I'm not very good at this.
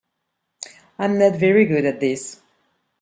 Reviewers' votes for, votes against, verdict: 3, 0, accepted